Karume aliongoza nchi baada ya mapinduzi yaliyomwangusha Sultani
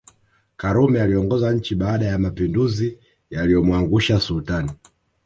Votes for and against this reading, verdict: 0, 2, rejected